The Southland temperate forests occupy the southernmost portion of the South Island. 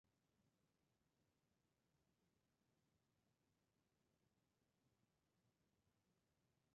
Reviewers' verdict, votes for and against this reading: rejected, 0, 2